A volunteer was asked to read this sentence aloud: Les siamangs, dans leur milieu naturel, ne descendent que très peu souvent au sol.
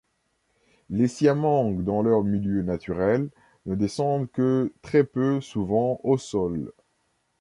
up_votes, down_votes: 2, 0